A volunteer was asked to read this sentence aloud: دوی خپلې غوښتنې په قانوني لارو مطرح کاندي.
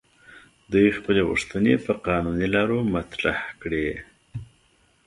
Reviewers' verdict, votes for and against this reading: rejected, 1, 2